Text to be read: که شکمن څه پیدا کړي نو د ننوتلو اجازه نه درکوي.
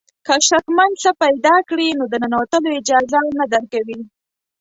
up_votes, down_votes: 2, 0